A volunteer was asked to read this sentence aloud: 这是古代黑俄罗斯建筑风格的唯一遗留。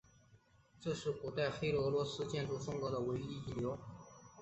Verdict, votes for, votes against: accepted, 3, 0